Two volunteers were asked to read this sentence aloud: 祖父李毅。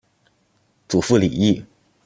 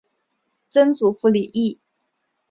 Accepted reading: first